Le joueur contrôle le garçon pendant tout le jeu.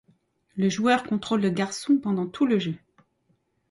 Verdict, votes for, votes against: accepted, 2, 0